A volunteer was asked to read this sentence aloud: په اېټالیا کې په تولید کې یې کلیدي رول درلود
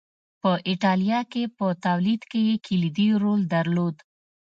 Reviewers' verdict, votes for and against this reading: accepted, 2, 0